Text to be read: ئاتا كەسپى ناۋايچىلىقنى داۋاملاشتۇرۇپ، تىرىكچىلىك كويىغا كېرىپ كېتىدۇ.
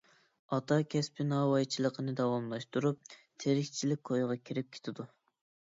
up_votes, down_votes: 2, 0